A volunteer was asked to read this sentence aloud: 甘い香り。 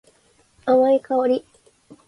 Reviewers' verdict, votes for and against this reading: accepted, 2, 0